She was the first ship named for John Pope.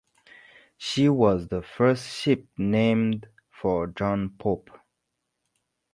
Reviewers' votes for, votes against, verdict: 2, 0, accepted